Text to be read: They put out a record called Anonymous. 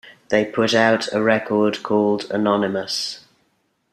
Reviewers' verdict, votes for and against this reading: accepted, 3, 0